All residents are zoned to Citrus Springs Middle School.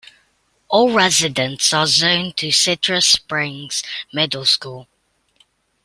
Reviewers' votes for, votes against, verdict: 2, 0, accepted